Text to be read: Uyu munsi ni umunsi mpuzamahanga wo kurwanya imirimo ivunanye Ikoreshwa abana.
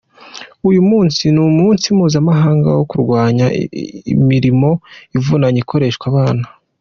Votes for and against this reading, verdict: 2, 0, accepted